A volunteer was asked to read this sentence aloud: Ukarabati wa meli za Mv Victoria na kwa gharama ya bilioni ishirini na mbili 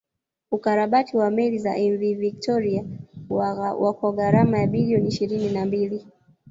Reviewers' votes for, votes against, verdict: 1, 3, rejected